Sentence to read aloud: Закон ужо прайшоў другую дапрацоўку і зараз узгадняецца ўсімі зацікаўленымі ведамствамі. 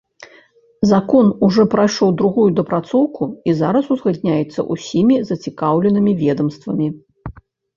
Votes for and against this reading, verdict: 1, 2, rejected